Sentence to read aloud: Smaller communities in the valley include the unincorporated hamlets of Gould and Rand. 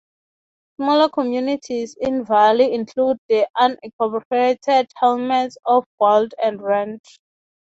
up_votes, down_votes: 6, 15